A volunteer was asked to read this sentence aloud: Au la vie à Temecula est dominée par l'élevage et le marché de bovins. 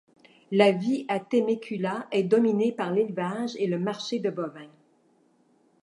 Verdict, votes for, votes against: rejected, 0, 2